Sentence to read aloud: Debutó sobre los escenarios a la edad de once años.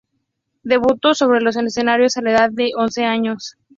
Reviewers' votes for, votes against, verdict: 2, 0, accepted